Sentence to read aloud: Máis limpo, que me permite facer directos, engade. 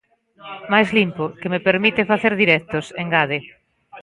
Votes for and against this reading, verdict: 1, 2, rejected